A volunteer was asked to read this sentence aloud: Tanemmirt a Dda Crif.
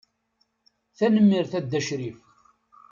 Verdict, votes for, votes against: accepted, 3, 0